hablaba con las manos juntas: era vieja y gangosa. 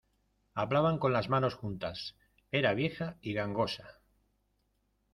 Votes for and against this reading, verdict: 0, 2, rejected